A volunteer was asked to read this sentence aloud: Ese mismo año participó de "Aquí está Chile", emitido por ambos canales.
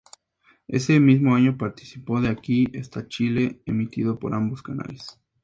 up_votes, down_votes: 2, 0